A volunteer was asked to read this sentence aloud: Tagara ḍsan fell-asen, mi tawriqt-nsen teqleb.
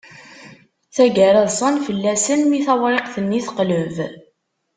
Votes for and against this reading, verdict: 1, 2, rejected